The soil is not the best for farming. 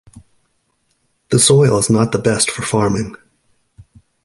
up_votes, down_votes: 3, 0